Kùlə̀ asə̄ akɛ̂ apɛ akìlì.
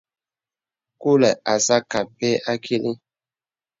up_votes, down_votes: 2, 0